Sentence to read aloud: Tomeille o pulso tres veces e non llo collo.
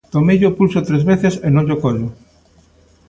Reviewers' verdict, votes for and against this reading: accepted, 2, 0